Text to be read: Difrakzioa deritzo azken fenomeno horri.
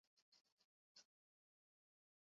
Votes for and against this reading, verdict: 2, 0, accepted